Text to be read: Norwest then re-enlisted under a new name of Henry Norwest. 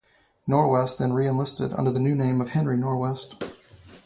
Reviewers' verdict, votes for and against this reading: rejected, 0, 2